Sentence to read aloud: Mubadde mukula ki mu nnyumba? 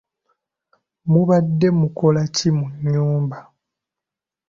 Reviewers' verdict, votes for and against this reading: accepted, 2, 0